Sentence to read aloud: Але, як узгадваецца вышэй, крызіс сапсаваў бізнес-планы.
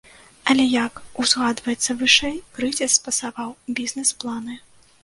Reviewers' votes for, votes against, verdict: 0, 2, rejected